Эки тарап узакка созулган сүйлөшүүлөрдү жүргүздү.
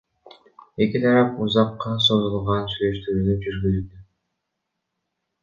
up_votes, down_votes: 0, 2